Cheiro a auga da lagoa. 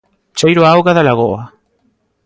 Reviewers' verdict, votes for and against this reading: accepted, 2, 0